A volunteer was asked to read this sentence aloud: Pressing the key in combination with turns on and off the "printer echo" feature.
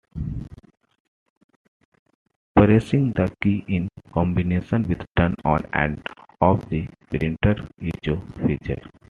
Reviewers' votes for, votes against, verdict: 2, 0, accepted